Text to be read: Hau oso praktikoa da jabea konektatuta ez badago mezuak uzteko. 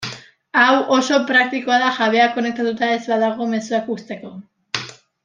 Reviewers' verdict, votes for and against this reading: accepted, 2, 0